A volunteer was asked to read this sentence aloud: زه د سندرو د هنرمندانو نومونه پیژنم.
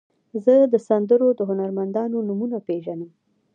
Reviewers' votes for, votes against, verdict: 2, 1, accepted